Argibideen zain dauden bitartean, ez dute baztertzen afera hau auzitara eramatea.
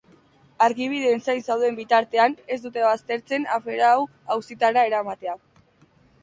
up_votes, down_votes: 0, 2